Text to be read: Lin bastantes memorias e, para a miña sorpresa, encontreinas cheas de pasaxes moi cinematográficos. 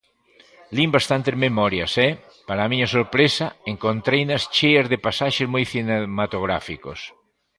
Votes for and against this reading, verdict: 2, 0, accepted